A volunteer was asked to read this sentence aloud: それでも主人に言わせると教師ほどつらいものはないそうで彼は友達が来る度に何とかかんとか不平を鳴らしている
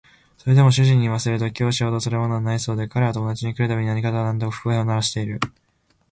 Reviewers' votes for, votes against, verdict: 2, 0, accepted